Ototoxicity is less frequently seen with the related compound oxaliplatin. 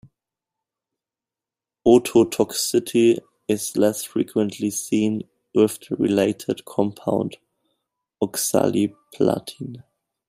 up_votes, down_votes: 1, 2